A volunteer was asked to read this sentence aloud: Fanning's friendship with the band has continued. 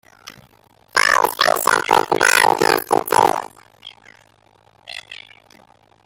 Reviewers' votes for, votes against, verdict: 0, 2, rejected